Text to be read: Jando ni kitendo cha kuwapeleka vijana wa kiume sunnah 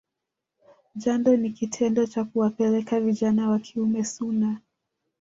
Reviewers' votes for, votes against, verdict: 1, 2, rejected